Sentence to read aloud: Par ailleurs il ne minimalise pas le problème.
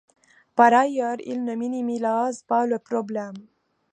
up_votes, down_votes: 1, 2